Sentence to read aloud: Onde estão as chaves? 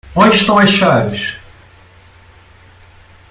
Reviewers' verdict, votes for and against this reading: rejected, 0, 2